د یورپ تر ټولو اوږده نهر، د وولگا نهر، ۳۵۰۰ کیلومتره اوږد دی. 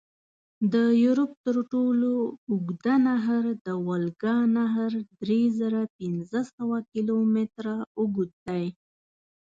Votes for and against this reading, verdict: 0, 2, rejected